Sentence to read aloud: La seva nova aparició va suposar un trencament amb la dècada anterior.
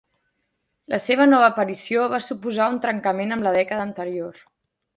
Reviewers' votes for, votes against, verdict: 2, 0, accepted